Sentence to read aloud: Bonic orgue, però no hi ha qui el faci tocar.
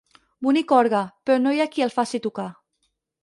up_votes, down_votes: 4, 0